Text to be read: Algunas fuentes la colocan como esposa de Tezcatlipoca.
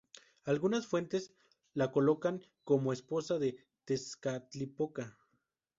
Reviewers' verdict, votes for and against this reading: rejected, 0, 2